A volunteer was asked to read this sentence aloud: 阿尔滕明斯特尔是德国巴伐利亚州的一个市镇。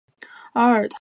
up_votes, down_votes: 1, 7